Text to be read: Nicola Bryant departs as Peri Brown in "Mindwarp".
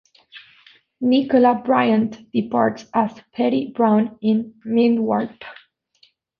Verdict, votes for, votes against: rejected, 1, 2